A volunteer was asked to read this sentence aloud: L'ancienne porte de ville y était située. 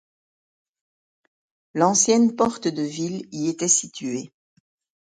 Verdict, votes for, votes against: accepted, 2, 0